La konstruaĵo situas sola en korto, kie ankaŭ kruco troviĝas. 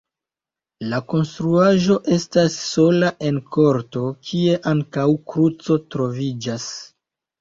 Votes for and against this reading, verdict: 0, 2, rejected